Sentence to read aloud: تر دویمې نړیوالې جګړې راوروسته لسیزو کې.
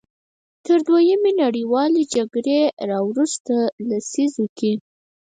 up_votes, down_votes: 0, 4